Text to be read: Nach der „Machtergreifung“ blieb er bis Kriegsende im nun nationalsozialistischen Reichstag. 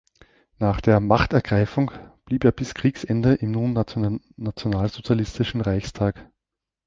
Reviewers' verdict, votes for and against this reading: rejected, 0, 2